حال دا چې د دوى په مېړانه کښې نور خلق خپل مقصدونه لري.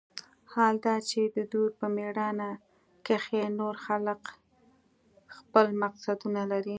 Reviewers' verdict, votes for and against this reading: accepted, 2, 0